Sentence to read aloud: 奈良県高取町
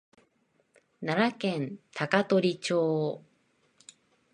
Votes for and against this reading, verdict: 2, 0, accepted